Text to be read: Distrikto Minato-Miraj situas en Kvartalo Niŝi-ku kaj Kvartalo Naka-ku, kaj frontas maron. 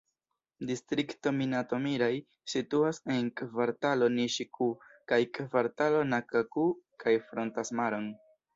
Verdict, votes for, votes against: rejected, 0, 2